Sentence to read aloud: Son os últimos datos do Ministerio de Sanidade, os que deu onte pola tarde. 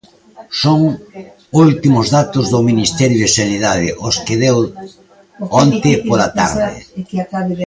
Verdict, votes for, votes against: rejected, 0, 2